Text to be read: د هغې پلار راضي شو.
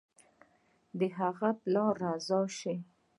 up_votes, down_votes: 1, 2